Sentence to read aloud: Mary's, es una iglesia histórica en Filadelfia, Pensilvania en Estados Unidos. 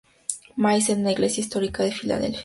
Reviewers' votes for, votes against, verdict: 0, 2, rejected